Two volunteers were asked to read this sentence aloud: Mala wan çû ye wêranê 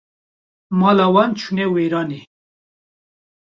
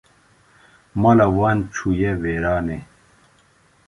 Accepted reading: second